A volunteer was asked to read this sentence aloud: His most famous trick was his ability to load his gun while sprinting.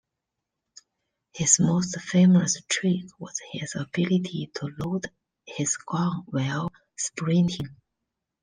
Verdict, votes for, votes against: rejected, 1, 2